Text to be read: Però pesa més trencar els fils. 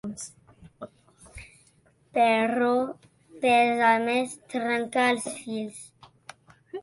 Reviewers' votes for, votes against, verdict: 1, 2, rejected